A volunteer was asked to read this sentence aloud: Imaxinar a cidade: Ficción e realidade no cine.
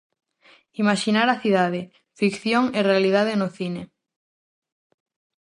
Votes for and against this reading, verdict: 4, 0, accepted